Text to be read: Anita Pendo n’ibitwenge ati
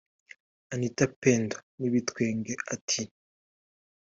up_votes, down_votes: 2, 0